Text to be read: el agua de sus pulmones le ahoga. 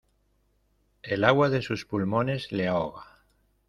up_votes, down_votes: 2, 0